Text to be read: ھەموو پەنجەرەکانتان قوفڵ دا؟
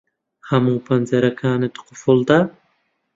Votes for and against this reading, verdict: 0, 2, rejected